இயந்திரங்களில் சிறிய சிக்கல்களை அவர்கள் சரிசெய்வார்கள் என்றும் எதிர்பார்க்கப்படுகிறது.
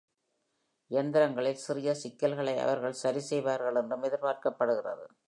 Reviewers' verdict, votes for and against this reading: accepted, 2, 0